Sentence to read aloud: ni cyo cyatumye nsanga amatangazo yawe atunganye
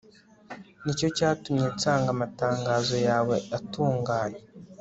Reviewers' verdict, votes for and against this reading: accepted, 2, 0